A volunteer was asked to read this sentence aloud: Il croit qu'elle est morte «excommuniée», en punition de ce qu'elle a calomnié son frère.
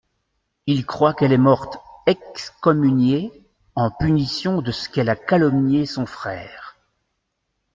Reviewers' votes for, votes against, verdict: 2, 1, accepted